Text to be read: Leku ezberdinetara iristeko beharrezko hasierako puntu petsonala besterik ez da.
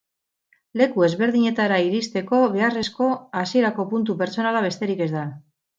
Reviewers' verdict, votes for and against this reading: rejected, 0, 2